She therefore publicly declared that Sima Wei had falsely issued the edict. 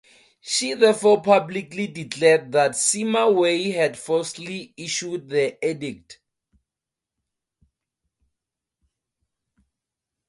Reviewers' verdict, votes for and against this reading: accepted, 4, 0